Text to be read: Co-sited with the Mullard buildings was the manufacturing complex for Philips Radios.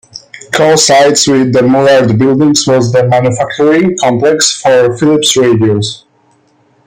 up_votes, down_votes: 2, 1